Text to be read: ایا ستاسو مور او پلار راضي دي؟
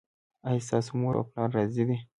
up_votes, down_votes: 2, 0